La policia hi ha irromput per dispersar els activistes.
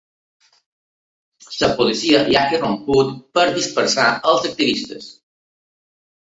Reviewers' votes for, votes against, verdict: 1, 2, rejected